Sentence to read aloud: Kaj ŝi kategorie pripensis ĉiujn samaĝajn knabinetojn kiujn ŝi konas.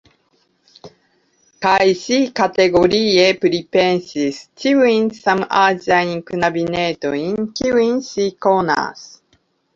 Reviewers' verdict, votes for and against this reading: rejected, 1, 2